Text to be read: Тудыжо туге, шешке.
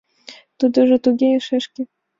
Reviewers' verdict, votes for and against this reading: accepted, 2, 0